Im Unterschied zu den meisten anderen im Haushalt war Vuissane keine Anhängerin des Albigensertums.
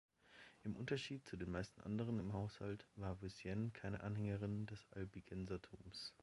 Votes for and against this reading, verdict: 1, 2, rejected